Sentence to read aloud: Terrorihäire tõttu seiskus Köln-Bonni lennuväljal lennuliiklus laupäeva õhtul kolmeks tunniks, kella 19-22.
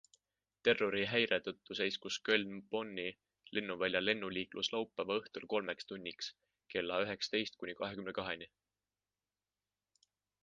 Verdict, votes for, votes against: rejected, 0, 2